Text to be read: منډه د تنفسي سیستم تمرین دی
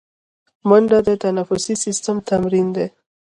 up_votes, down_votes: 2, 0